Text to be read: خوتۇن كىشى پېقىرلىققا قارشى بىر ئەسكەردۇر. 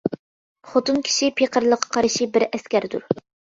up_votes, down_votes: 2, 0